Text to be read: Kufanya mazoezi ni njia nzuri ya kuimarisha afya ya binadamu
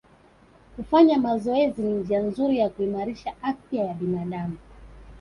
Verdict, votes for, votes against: accepted, 2, 0